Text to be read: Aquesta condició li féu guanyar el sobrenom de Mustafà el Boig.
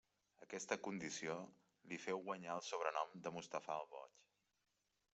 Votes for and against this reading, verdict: 2, 1, accepted